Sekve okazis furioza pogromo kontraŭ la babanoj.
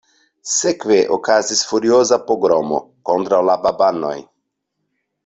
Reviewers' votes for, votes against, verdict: 2, 0, accepted